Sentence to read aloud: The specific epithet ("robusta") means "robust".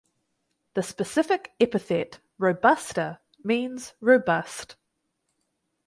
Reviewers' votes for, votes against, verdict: 4, 0, accepted